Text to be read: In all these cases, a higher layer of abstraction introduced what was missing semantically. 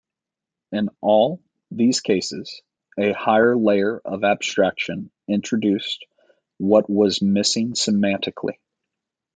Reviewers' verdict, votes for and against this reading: accepted, 3, 0